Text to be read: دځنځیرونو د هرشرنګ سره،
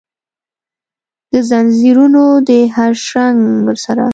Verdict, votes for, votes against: accepted, 2, 0